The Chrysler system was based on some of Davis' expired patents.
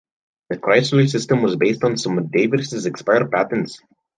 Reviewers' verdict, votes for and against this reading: accepted, 3, 0